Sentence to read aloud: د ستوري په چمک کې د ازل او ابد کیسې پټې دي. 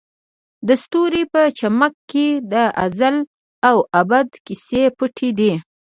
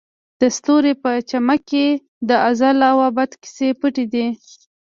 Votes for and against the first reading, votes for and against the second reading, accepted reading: 0, 2, 2, 0, second